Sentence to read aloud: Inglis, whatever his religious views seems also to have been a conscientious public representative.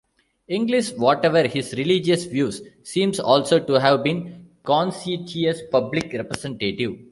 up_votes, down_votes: 0, 2